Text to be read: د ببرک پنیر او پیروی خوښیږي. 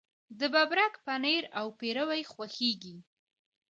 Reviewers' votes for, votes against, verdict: 2, 1, accepted